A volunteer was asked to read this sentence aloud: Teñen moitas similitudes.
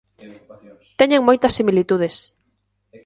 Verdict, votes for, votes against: rejected, 0, 2